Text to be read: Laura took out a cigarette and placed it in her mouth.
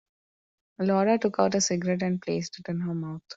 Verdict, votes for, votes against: accepted, 2, 0